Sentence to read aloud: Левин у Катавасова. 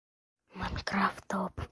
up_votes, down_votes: 0, 2